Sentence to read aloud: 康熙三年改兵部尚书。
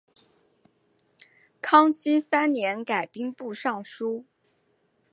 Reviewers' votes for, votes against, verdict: 5, 0, accepted